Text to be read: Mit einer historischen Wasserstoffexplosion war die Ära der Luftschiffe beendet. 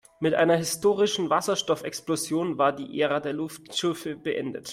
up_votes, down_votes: 1, 2